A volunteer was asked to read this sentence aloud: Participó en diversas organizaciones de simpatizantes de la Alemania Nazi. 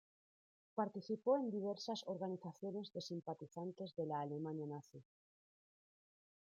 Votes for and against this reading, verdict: 2, 0, accepted